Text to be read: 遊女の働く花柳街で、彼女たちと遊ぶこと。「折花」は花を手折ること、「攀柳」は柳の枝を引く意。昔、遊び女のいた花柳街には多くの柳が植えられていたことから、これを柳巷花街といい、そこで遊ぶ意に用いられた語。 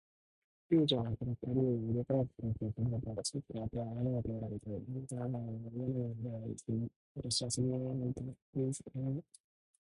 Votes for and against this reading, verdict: 0, 2, rejected